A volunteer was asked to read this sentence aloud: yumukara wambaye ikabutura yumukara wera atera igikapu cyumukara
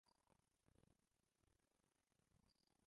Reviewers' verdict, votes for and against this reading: rejected, 0, 2